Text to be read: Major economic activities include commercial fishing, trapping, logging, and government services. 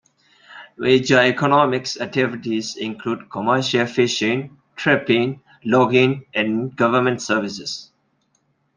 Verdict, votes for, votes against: rejected, 1, 2